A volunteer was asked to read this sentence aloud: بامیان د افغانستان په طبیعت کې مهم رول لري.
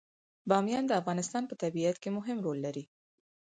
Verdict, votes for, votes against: accepted, 4, 0